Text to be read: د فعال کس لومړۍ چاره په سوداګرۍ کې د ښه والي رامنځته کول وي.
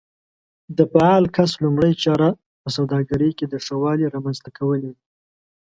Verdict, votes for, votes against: accepted, 2, 0